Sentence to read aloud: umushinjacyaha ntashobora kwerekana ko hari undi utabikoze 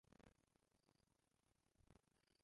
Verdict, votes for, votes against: rejected, 0, 2